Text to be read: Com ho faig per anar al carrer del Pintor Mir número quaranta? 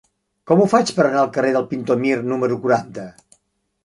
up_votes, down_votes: 3, 0